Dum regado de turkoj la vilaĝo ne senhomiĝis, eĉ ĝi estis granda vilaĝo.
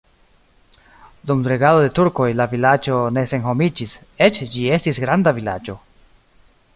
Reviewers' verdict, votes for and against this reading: rejected, 1, 2